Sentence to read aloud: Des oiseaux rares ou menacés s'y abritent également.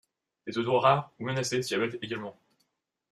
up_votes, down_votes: 1, 2